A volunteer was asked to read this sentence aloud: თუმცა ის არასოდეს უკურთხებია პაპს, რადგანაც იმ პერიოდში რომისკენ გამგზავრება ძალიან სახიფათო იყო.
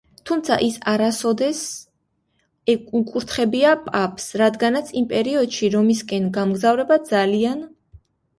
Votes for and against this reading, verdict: 0, 2, rejected